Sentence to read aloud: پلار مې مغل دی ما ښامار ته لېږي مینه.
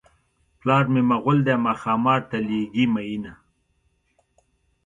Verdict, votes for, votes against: accepted, 2, 0